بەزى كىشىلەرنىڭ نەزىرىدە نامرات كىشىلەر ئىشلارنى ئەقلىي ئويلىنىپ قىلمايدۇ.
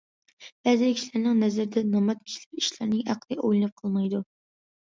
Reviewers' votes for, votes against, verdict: 2, 1, accepted